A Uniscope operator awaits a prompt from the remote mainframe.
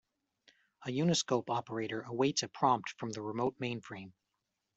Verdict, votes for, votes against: accepted, 2, 0